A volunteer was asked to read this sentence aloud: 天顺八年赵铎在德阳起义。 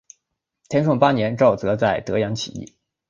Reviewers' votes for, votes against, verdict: 2, 0, accepted